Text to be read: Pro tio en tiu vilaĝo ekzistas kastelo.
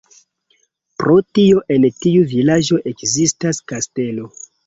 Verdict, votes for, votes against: accepted, 2, 0